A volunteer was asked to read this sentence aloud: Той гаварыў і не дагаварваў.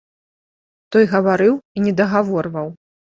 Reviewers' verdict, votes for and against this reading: rejected, 0, 2